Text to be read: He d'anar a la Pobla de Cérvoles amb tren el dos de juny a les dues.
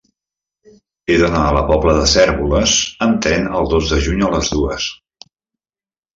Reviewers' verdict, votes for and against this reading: accepted, 2, 0